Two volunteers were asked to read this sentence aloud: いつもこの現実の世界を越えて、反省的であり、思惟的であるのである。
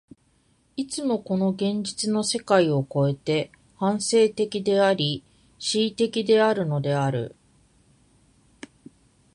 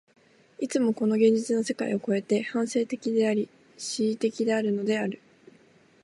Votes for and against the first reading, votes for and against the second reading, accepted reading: 1, 2, 4, 0, second